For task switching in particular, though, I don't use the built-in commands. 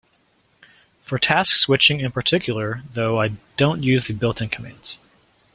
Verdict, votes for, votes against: accepted, 2, 0